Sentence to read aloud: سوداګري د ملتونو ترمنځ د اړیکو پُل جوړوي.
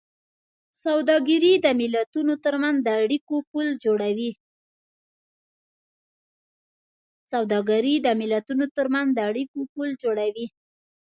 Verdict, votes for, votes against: rejected, 1, 2